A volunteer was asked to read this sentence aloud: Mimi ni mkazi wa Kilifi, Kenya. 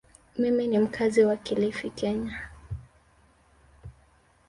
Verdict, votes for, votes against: rejected, 0, 2